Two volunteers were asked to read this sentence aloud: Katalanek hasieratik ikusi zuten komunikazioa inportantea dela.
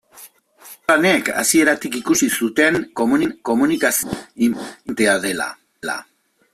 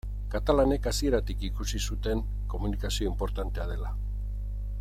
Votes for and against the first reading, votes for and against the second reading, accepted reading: 0, 2, 15, 1, second